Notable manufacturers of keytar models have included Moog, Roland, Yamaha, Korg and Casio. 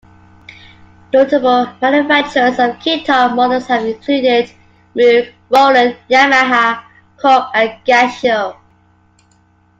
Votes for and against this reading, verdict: 0, 2, rejected